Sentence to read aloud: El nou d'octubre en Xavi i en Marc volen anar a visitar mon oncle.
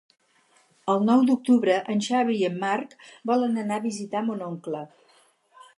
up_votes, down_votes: 4, 0